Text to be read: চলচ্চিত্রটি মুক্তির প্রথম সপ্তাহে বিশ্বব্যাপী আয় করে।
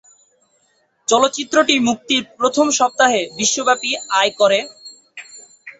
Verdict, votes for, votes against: accepted, 9, 0